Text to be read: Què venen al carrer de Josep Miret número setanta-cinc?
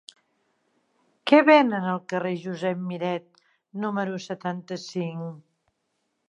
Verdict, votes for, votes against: rejected, 0, 2